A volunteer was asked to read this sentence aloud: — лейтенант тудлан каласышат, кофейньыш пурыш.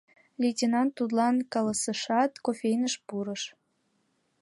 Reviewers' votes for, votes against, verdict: 2, 0, accepted